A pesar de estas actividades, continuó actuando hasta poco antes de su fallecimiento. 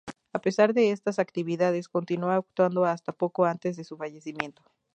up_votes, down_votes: 2, 0